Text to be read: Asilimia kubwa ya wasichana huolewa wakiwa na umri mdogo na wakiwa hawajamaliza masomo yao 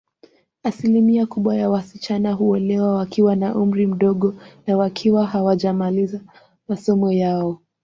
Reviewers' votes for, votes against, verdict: 0, 2, rejected